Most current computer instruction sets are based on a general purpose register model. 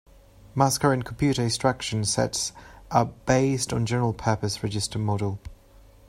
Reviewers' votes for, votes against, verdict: 1, 2, rejected